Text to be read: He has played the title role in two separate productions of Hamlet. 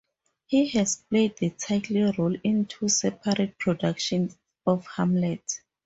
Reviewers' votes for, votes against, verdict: 2, 0, accepted